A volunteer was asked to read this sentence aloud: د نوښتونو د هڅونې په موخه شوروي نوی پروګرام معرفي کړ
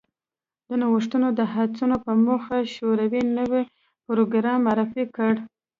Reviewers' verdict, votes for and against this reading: rejected, 0, 2